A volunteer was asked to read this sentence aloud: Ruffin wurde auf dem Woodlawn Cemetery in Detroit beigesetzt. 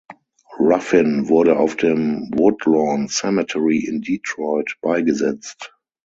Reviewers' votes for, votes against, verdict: 6, 0, accepted